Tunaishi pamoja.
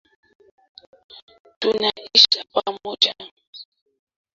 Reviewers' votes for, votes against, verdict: 0, 2, rejected